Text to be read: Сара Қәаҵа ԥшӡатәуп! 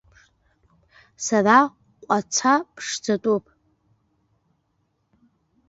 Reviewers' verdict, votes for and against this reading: rejected, 0, 2